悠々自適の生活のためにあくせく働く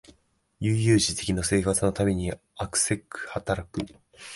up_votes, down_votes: 3, 0